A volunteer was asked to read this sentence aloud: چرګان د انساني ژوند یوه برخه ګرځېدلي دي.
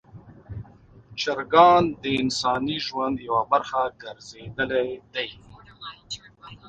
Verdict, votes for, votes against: rejected, 1, 2